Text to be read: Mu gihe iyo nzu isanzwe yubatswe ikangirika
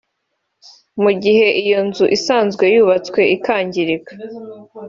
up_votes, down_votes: 2, 0